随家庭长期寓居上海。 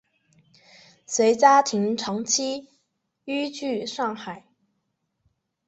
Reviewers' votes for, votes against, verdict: 3, 0, accepted